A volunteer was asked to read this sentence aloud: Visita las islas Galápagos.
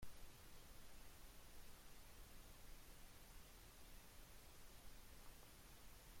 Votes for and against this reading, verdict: 0, 2, rejected